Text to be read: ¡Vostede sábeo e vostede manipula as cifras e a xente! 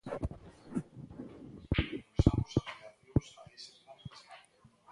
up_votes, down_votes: 0, 2